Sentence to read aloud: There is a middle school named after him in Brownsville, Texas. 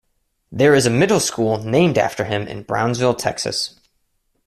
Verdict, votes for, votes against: accepted, 2, 0